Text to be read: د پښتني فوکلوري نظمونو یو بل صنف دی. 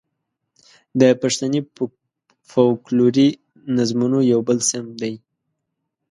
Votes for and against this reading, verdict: 1, 2, rejected